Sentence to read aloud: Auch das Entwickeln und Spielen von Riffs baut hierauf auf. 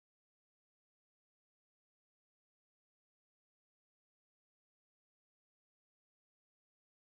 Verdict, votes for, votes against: rejected, 0, 2